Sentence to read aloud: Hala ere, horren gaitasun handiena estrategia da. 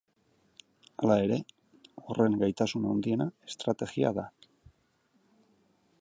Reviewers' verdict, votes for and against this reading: accepted, 2, 0